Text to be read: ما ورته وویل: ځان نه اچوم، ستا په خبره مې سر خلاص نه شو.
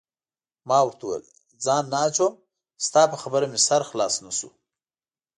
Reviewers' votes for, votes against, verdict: 2, 0, accepted